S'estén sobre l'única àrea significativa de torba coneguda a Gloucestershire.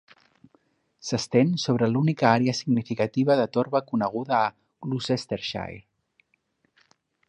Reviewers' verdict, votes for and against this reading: accepted, 4, 0